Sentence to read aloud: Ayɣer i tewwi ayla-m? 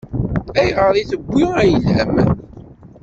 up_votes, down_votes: 1, 2